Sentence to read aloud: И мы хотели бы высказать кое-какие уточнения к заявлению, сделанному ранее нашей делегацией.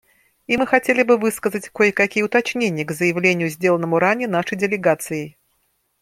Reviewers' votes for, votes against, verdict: 2, 0, accepted